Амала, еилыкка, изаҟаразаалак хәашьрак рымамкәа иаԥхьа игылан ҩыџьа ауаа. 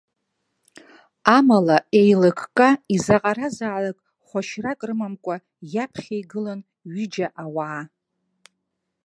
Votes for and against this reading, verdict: 2, 0, accepted